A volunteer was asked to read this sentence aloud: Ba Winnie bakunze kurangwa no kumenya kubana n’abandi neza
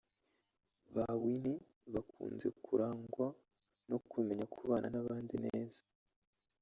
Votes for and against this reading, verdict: 1, 2, rejected